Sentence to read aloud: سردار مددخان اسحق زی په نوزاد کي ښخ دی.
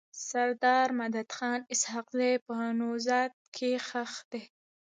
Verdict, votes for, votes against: rejected, 1, 2